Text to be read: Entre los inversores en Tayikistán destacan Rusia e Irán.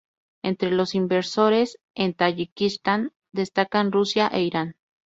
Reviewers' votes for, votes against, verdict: 0, 2, rejected